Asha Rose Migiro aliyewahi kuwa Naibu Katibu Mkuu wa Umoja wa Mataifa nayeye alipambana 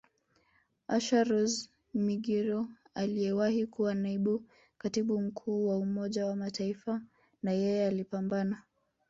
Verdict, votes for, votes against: rejected, 1, 2